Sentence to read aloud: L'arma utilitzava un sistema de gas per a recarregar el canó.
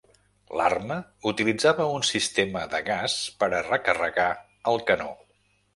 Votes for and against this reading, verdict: 2, 0, accepted